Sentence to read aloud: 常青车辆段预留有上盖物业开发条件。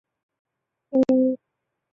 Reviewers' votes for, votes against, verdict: 0, 2, rejected